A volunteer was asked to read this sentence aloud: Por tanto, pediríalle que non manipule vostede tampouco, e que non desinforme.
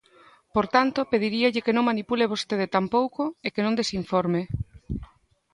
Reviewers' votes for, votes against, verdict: 2, 0, accepted